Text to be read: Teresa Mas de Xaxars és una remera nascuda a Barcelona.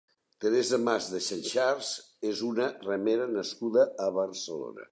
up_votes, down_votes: 2, 1